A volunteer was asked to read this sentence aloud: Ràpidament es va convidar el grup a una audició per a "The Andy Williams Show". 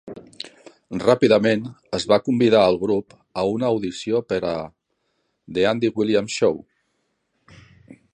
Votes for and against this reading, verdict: 2, 0, accepted